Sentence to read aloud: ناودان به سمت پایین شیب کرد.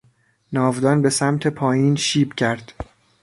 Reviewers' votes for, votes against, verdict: 2, 1, accepted